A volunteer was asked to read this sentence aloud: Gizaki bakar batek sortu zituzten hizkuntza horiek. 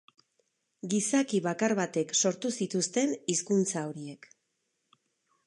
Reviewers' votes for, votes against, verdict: 4, 0, accepted